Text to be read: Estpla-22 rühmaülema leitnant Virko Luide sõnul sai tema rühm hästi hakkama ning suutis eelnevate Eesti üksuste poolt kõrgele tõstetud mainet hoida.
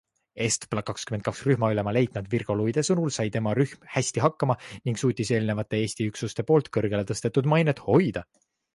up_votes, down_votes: 0, 2